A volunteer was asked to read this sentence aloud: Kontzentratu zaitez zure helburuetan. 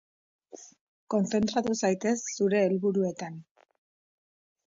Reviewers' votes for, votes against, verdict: 1, 2, rejected